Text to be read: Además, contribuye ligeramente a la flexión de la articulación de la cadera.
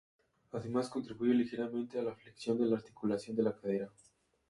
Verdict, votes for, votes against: accepted, 2, 0